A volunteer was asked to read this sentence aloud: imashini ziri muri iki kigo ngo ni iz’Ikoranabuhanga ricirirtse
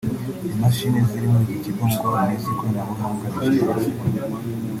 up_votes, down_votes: 1, 2